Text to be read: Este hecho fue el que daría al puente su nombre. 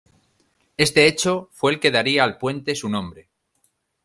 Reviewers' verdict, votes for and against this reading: accepted, 2, 0